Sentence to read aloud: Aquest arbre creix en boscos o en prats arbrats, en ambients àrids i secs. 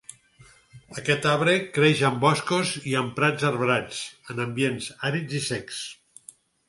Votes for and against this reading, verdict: 0, 4, rejected